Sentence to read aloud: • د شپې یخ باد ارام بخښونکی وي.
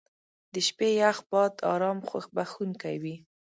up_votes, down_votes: 1, 2